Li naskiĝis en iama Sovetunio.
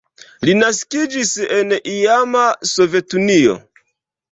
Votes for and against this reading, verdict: 1, 2, rejected